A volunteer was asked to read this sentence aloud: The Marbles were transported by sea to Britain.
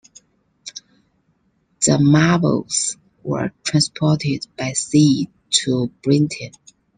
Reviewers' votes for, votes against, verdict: 2, 0, accepted